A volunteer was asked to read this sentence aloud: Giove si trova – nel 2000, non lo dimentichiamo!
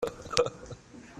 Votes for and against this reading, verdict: 0, 2, rejected